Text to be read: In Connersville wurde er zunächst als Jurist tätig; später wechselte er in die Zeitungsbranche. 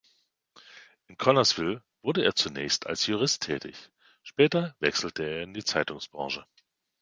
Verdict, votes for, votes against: accepted, 2, 0